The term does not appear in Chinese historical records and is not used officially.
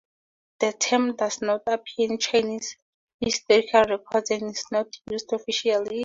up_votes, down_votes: 2, 0